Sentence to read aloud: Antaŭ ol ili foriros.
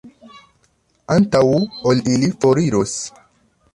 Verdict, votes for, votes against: rejected, 1, 2